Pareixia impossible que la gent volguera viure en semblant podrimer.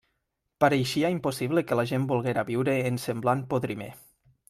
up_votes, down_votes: 3, 0